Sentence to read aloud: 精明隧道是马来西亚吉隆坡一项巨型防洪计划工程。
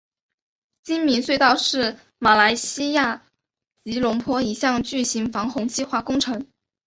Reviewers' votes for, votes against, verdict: 6, 0, accepted